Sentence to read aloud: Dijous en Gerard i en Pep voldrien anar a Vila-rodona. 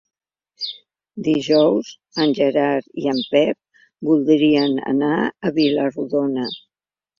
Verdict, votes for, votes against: accepted, 3, 1